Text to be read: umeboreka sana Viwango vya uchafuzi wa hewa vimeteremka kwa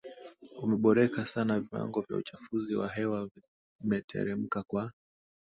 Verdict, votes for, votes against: accepted, 2, 0